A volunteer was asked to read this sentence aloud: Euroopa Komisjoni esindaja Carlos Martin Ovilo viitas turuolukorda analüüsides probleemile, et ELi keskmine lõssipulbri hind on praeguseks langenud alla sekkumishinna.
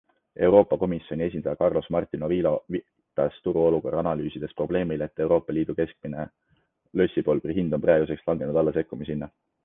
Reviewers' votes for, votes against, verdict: 2, 0, accepted